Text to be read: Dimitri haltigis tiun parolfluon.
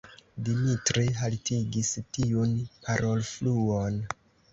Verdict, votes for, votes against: rejected, 1, 2